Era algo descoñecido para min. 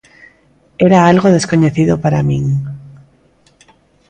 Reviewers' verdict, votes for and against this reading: accepted, 2, 0